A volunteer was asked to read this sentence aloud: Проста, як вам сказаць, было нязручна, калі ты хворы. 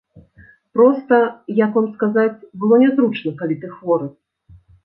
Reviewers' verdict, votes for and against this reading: accepted, 2, 0